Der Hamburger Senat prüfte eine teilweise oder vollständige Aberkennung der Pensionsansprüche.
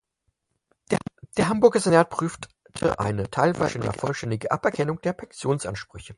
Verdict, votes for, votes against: rejected, 0, 4